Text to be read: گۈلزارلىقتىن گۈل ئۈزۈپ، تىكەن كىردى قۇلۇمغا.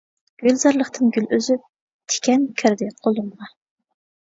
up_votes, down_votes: 1, 2